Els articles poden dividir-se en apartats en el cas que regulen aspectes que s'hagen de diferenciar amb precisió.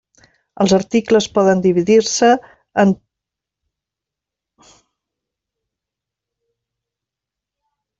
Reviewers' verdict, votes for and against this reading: rejected, 0, 2